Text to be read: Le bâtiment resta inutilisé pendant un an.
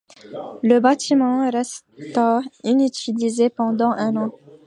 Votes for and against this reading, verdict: 1, 2, rejected